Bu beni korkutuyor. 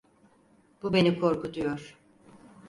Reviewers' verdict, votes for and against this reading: accepted, 4, 0